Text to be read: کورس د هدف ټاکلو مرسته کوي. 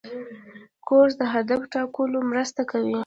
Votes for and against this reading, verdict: 0, 2, rejected